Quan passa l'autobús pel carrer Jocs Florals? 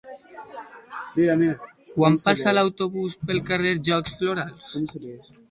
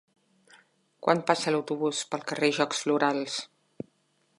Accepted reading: second